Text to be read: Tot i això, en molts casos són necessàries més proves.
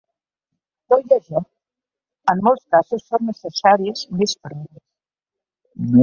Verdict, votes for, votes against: rejected, 0, 2